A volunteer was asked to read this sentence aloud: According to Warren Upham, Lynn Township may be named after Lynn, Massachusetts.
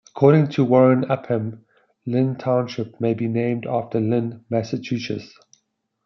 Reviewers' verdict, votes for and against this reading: rejected, 1, 2